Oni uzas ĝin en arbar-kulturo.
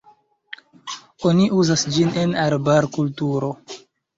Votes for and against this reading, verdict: 1, 2, rejected